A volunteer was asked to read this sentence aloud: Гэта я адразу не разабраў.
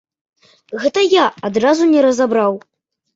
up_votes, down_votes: 2, 0